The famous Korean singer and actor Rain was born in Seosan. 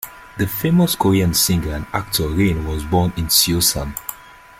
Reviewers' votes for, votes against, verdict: 1, 2, rejected